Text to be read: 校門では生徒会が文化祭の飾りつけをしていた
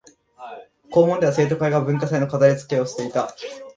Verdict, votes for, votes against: rejected, 0, 2